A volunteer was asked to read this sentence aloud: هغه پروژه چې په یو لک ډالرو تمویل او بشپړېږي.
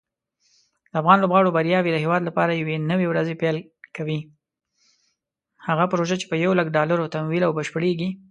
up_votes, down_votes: 1, 2